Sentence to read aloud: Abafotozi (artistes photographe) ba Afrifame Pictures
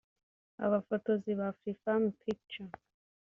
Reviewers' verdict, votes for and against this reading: rejected, 0, 3